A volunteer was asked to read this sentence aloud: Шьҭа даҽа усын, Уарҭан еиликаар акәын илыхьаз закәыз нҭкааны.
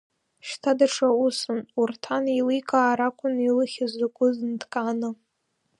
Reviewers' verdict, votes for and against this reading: rejected, 0, 2